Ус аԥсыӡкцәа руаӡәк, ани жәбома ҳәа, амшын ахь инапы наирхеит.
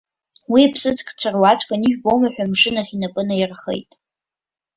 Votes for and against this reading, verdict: 1, 3, rejected